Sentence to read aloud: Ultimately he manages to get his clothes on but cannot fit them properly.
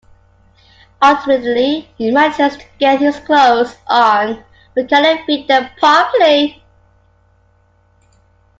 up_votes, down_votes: 2, 1